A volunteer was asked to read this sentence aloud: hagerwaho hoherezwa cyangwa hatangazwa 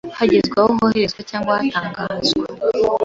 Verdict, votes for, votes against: rejected, 1, 2